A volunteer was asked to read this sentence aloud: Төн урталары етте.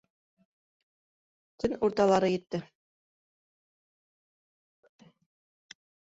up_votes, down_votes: 0, 2